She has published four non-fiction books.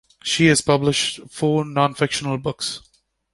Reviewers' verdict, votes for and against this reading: rejected, 0, 2